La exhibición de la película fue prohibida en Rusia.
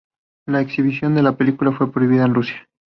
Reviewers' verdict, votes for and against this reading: accepted, 2, 0